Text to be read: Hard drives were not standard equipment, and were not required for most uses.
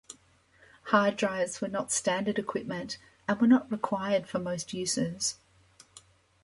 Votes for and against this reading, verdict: 2, 0, accepted